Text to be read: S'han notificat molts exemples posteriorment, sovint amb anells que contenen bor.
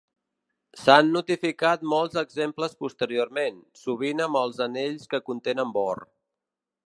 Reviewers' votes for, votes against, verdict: 0, 2, rejected